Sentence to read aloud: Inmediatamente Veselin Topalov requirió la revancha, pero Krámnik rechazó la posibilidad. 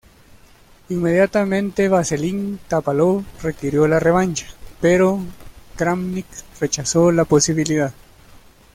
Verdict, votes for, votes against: rejected, 1, 2